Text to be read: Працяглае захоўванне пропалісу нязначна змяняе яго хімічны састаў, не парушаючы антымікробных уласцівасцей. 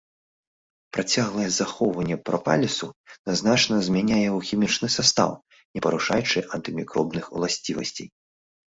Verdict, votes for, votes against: accepted, 2, 1